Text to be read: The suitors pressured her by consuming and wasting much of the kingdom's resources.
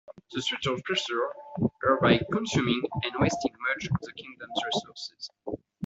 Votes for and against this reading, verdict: 1, 2, rejected